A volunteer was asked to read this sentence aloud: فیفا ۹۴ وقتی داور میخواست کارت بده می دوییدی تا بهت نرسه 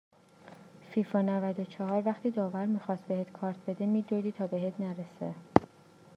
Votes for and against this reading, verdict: 0, 2, rejected